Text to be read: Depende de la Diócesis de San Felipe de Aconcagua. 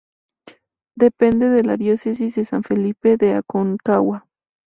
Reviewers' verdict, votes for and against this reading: accepted, 2, 0